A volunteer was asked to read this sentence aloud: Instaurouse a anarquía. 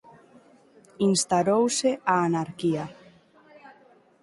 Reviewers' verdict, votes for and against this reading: rejected, 0, 2